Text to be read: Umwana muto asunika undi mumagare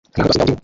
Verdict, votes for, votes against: rejected, 0, 2